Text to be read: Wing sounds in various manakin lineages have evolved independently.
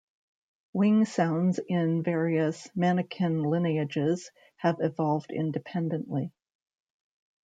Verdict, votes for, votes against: rejected, 1, 2